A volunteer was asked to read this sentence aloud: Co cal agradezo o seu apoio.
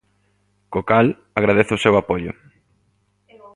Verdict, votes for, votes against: accepted, 2, 0